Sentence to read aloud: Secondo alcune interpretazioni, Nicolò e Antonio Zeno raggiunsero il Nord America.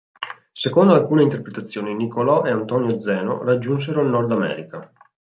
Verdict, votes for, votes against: accepted, 2, 0